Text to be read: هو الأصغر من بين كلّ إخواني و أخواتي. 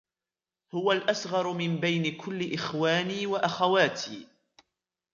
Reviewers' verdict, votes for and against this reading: accepted, 2, 1